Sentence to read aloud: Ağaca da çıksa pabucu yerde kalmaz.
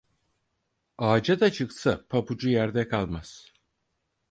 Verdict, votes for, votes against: accepted, 4, 0